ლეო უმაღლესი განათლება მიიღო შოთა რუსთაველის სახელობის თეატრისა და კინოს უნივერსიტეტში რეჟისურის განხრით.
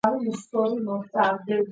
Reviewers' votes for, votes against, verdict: 2, 1, accepted